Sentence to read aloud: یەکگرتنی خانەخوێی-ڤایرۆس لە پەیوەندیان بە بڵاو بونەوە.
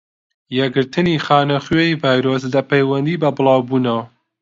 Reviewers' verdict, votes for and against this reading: rejected, 0, 2